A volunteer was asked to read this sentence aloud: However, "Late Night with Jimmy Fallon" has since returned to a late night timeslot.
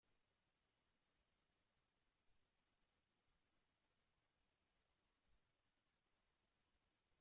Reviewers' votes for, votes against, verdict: 0, 2, rejected